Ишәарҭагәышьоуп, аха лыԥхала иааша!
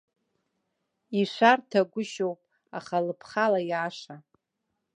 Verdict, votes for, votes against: accepted, 2, 0